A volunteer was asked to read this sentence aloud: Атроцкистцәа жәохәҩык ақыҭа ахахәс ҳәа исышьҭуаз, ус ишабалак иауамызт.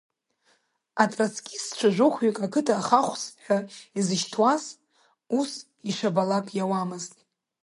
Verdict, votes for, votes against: rejected, 0, 2